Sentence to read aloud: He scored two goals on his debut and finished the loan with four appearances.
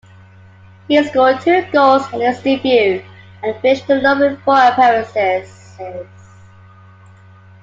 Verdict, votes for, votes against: rejected, 0, 2